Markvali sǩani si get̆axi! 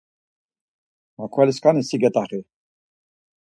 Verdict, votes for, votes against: accepted, 4, 0